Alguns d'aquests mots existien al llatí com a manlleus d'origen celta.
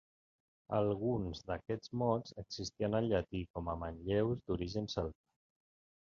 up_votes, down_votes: 2, 1